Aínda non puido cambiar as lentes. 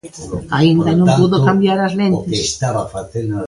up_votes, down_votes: 0, 2